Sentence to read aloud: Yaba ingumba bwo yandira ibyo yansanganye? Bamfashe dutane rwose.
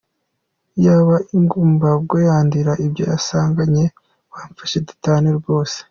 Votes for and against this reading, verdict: 1, 2, rejected